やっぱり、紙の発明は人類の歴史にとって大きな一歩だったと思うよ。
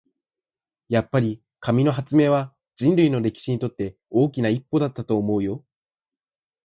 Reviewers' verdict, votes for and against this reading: accepted, 4, 2